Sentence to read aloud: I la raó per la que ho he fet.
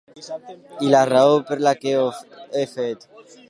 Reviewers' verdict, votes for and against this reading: accepted, 2, 0